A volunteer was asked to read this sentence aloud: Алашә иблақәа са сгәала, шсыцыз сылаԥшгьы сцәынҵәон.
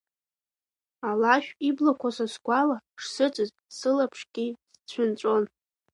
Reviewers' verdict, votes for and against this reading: rejected, 0, 2